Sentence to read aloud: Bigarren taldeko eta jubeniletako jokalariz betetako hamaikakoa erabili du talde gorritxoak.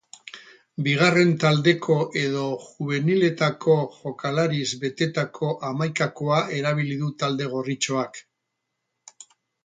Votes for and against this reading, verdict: 0, 2, rejected